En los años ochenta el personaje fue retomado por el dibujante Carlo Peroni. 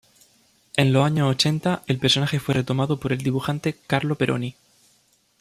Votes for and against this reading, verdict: 2, 1, accepted